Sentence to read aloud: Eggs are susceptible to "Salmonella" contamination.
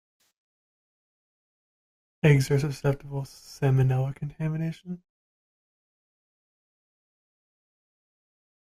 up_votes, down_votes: 0, 2